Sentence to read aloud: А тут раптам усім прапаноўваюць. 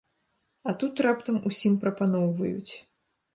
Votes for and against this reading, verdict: 2, 0, accepted